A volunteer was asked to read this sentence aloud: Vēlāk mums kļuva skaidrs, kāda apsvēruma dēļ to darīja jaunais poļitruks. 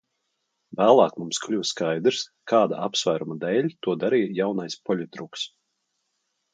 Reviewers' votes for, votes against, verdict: 2, 0, accepted